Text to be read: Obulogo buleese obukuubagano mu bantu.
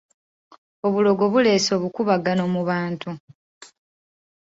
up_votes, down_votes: 2, 1